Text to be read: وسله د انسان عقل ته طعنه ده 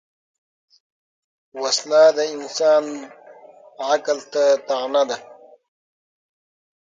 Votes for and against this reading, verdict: 6, 0, accepted